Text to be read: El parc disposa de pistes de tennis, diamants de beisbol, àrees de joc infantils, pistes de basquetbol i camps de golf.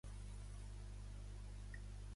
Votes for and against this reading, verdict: 0, 2, rejected